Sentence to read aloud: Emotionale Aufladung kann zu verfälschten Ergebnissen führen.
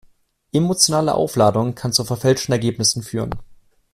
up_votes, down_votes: 2, 0